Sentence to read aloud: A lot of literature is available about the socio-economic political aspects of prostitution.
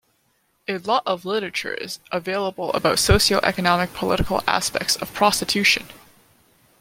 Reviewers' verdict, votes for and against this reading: rejected, 1, 2